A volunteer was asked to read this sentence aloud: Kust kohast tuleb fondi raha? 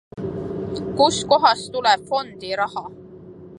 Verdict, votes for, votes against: accepted, 2, 0